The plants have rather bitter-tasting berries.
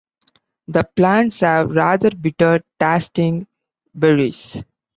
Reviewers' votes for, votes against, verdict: 2, 1, accepted